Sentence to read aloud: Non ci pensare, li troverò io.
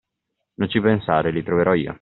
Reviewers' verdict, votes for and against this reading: accepted, 2, 1